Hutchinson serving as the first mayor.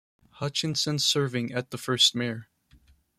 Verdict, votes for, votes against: rejected, 1, 2